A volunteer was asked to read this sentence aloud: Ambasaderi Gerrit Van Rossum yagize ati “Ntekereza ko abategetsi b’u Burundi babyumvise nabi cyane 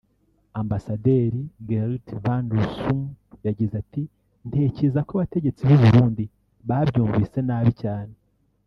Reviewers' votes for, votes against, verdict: 1, 2, rejected